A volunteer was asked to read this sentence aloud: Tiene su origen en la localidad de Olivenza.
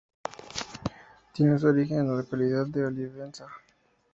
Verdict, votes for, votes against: accepted, 2, 0